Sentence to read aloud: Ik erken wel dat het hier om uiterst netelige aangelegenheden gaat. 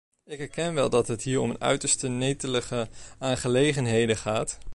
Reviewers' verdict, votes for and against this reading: rejected, 1, 2